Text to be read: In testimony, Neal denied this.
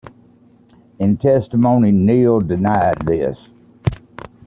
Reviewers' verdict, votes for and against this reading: accepted, 2, 0